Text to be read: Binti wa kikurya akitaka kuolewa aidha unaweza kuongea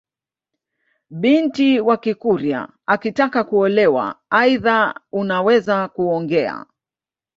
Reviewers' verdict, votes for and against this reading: accepted, 2, 0